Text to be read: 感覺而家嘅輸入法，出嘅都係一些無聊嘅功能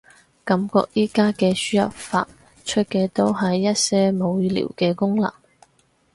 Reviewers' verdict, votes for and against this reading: rejected, 2, 4